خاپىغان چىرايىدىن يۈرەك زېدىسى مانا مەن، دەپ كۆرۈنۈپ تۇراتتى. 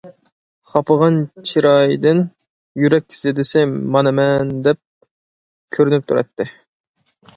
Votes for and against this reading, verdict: 2, 0, accepted